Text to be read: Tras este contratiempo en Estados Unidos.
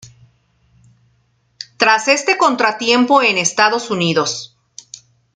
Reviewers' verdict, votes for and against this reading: accepted, 2, 0